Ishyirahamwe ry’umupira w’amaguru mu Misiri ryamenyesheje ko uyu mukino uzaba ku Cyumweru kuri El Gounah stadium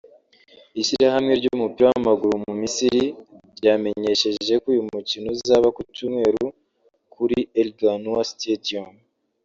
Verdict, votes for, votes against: rejected, 0, 2